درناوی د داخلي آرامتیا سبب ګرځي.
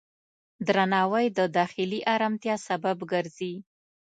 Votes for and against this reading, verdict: 2, 0, accepted